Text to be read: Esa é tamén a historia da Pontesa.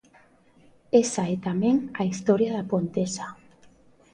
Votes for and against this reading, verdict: 2, 0, accepted